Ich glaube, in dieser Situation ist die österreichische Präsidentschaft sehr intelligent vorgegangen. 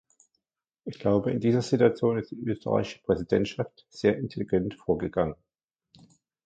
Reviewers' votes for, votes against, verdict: 1, 2, rejected